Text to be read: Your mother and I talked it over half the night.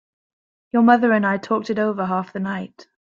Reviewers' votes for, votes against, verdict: 2, 1, accepted